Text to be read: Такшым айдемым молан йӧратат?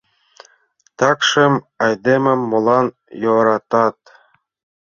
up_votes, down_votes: 1, 2